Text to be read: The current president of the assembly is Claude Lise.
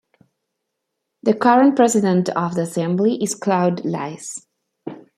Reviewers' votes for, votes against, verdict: 2, 0, accepted